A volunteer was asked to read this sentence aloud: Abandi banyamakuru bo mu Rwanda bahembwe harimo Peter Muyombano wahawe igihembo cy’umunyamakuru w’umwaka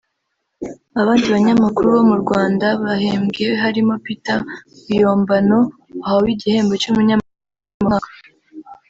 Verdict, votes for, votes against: rejected, 0, 2